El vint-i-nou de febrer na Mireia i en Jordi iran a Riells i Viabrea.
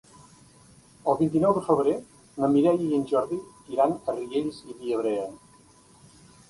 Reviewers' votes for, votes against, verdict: 2, 0, accepted